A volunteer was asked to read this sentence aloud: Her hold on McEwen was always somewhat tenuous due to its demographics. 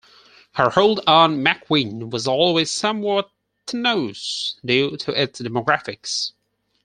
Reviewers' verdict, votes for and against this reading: rejected, 2, 4